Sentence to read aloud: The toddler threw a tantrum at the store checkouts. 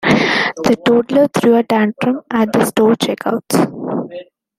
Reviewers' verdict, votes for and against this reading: accepted, 2, 1